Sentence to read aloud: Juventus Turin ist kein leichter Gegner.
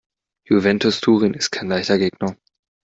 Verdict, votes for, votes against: accepted, 2, 0